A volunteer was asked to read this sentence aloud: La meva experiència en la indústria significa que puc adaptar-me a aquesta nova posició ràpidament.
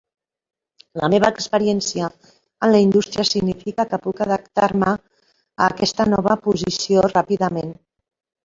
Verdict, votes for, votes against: rejected, 0, 2